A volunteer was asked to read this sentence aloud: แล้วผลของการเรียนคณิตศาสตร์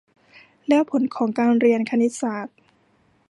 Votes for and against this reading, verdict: 2, 0, accepted